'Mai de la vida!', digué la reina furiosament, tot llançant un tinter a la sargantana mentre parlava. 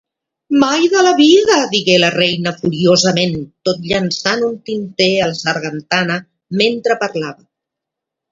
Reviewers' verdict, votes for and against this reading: rejected, 1, 2